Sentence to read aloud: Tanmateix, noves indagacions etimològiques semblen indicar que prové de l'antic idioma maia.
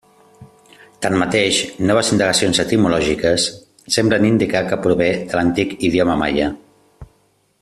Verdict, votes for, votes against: accepted, 2, 0